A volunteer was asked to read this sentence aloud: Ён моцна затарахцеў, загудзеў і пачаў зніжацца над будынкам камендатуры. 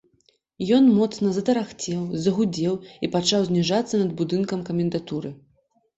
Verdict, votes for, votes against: accepted, 2, 0